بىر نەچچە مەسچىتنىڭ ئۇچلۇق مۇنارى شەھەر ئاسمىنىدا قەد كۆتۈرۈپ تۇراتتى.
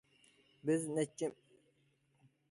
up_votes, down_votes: 0, 2